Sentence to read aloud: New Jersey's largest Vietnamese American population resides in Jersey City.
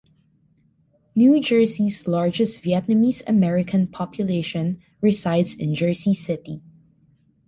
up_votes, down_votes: 2, 0